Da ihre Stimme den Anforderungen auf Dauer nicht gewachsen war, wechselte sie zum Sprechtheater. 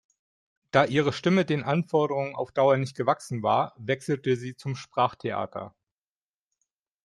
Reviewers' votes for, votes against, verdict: 0, 2, rejected